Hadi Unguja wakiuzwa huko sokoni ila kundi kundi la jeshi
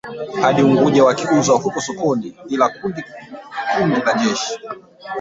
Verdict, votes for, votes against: rejected, 0, 2